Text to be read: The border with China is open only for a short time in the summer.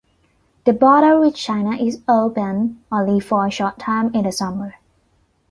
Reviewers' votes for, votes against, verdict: 2, 0, accepted